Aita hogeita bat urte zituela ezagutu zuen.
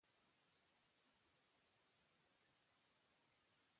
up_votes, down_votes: 0, 2